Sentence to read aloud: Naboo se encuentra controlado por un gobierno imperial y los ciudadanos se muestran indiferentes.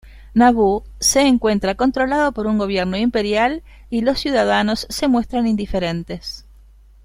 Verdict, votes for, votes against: accepted, 3, 1